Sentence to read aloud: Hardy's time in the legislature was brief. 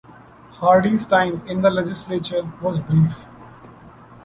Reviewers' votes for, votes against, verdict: 2, 1, accepted